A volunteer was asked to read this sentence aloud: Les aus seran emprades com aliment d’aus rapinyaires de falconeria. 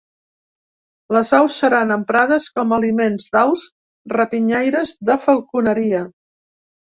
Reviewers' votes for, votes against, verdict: 2, 0, accepted